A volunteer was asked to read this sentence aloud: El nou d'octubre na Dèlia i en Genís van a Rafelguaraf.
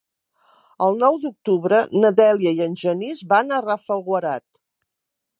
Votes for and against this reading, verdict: 1, 2, rejected